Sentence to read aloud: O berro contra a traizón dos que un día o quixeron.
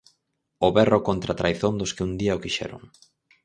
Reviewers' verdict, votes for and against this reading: accepted, 6, 0